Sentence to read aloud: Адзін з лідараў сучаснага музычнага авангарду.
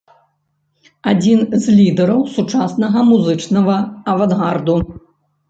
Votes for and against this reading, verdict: 0, 2, rejected